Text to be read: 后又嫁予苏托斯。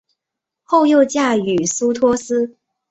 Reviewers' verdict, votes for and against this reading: accepted, 2, 0